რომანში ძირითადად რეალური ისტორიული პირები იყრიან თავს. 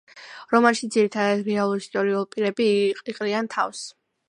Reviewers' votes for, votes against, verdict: 1, 2, rejected